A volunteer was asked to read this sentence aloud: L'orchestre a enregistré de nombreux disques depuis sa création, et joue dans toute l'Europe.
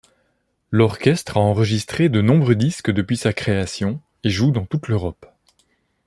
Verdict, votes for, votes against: accepted, 2, 0